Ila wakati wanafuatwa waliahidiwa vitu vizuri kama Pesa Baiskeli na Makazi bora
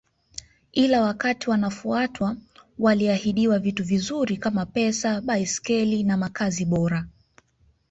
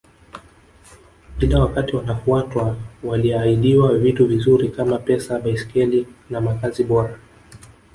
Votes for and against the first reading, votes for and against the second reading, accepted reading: 2, 0, 0, 2, first